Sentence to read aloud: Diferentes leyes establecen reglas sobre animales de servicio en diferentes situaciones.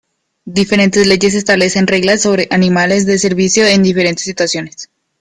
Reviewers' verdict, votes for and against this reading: rejected, 1, 2